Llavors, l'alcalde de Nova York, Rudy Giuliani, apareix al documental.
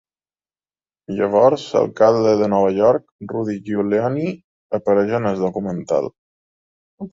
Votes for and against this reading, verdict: 2, 4, rejected